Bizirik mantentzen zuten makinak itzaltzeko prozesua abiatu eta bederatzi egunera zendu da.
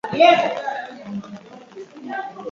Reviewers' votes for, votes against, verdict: 0, 4, rejected